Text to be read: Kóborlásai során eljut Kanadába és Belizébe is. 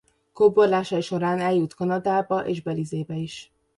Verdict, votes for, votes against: accepted, 2, 0